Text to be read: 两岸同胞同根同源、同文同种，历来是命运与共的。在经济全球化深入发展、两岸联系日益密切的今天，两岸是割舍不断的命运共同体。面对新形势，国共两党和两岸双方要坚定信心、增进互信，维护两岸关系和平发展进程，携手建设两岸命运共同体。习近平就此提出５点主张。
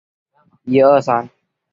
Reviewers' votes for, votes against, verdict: 0, 2, rejected